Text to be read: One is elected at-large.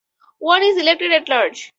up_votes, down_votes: 0, 2